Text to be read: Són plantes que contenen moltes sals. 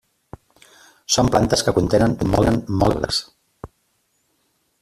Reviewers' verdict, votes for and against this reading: rejected, 0, 2